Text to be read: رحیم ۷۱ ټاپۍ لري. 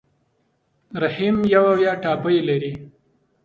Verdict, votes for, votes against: rejected, 0, 2